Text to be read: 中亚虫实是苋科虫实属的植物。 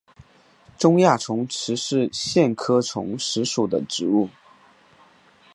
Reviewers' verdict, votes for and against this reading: accepted, 2, 0